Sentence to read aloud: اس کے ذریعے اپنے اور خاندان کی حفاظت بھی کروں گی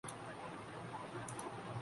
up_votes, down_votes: 1, 2